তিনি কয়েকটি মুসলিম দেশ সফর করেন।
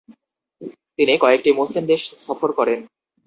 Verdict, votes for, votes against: accepted, 4, 2